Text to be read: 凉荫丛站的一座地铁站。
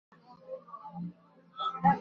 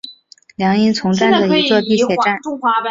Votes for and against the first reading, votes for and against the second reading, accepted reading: 0, 5, 2, 0, second